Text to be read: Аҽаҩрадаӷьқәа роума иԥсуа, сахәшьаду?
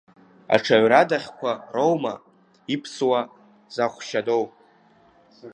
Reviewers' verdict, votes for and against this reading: rejected, 1, 2